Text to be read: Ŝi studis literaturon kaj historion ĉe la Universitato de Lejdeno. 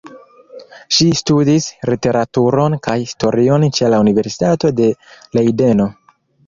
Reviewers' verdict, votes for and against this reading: rejected, 1, 3